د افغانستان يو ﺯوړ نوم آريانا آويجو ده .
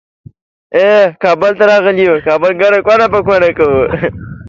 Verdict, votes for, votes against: rejected, 0, 2